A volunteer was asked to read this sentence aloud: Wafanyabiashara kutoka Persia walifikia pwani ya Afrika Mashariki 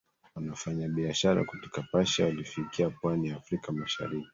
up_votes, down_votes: 1, 2